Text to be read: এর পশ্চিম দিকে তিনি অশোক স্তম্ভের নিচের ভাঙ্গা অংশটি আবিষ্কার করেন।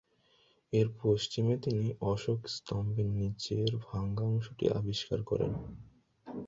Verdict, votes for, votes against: rejected, 1, 2